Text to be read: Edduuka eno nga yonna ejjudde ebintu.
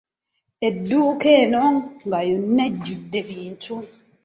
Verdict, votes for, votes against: rejected, 0, 2